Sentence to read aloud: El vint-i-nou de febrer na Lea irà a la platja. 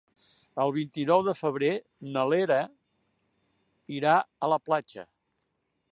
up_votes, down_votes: 2, 1